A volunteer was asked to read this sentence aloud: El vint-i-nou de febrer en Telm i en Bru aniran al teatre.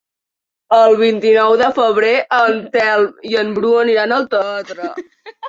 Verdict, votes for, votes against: rejected, 2, 3